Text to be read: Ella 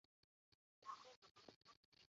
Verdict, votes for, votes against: rejected, 0, 2